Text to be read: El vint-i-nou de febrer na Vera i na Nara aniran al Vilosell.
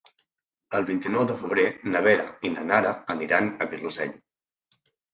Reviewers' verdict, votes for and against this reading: rejected, 1, 2